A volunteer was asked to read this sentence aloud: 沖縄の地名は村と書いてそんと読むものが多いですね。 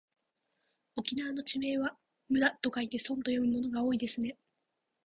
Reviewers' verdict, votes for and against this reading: rejected, 0, 2